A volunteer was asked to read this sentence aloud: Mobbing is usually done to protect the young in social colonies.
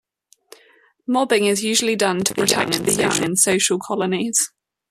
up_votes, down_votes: 1, 2